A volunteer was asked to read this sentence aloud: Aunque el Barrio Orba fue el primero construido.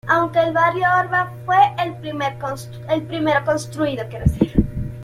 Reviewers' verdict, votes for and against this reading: rejected, 0, 2